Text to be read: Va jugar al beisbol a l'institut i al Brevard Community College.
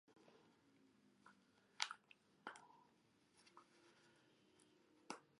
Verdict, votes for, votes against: rejected, 0, 2